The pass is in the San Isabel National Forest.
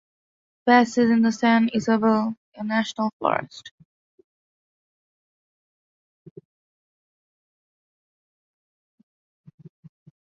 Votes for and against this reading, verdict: 2, 1, accepted